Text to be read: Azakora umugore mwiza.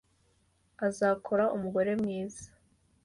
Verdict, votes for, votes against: accepted, 2, 1